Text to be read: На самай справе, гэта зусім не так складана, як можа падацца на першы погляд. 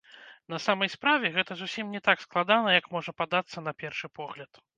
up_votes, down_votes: 2, 0